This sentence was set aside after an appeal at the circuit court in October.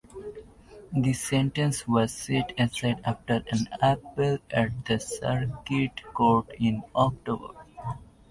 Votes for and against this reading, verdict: 2, 0, accepted